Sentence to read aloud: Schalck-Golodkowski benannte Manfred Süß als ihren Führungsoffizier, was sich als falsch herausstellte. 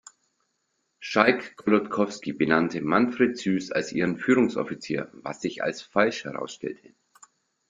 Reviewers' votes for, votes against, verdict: 2, 0, accepted